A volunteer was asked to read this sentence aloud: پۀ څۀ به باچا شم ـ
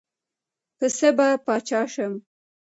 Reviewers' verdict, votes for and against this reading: accepted, 2, 0